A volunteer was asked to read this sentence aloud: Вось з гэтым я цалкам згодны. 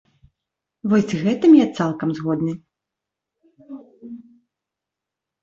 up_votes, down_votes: 2, 0